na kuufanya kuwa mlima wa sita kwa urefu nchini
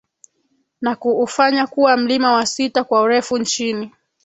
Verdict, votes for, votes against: accepted, 2, 1